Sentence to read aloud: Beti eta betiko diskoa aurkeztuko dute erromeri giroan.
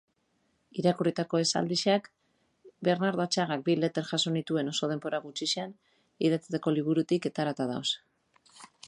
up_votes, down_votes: 0, 2